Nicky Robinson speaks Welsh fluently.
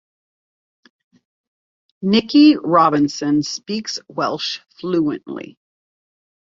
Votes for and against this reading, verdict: 2, 0, accepted